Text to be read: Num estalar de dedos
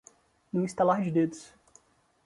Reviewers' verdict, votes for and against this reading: accepted, 2, 0